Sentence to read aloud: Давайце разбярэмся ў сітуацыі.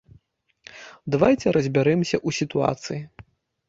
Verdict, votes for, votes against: accepted, 3, 1